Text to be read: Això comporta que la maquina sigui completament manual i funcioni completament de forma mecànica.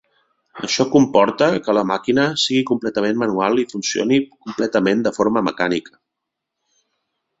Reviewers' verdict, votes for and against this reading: accepted, 3, 0